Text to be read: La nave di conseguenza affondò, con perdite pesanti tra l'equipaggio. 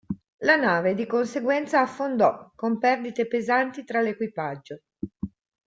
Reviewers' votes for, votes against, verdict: 2, 0, accepted